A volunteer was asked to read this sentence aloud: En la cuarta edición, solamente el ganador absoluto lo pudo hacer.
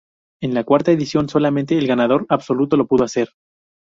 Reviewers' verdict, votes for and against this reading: accepted, 2, 0